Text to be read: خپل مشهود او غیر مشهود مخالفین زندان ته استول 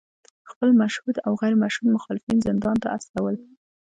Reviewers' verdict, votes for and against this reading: accepted, 2, 1